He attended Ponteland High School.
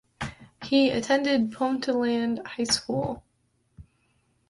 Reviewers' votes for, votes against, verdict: 2, 0, accepted